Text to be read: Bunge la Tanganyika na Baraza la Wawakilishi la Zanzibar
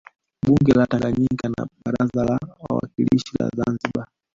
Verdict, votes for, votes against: rejected, 1, 2